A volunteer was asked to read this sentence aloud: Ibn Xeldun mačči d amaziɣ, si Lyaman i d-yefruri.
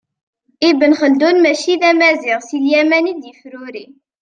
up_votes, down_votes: 2, 0